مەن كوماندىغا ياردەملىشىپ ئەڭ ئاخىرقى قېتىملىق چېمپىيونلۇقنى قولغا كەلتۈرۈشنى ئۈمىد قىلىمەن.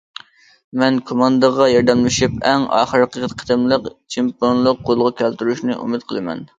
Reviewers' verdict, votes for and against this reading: rejected, 0, 2